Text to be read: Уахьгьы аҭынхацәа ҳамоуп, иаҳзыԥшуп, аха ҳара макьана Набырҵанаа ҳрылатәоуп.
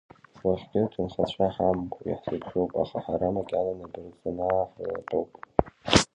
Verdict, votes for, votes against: rejected, 0, 2